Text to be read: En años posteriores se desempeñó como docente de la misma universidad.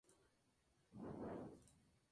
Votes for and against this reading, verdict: 0, 2, rejected